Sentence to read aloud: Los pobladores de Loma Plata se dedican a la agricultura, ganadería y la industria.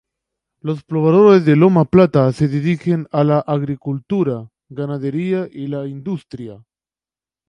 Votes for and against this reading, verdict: 0, 2, rejected